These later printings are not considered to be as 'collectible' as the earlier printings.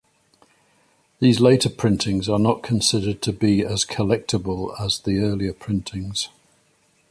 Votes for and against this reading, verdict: 2, 0, accepted